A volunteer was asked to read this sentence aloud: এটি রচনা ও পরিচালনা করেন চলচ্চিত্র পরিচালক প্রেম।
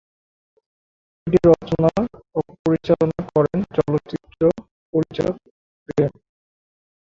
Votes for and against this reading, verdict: 0, 3, rejected